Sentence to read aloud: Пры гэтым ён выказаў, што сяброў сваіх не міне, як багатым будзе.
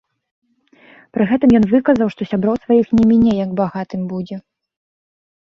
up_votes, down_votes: 2, 0